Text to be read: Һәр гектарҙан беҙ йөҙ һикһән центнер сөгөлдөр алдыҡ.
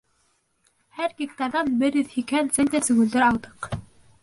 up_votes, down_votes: 1, 3